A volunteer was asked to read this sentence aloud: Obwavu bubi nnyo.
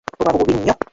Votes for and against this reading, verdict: 0, 2, rejected